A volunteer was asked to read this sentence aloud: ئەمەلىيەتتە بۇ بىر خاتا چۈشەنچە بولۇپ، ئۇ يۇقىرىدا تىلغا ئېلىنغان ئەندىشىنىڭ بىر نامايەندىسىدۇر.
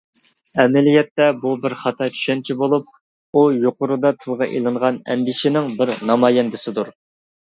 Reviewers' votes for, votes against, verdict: 2, 0, accepted